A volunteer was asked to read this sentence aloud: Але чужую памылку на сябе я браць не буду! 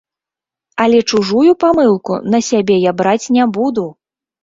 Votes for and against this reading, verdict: 3, 0, accepted